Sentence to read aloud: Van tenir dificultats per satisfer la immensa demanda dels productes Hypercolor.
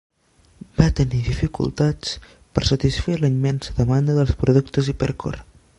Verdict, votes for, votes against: rejected, 0, 2